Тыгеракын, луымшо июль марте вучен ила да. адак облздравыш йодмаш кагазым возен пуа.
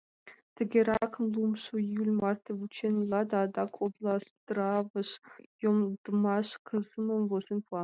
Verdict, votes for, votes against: rejected, 0, 5